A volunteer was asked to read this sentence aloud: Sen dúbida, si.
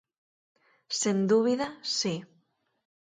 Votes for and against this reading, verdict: 4, 0, accepted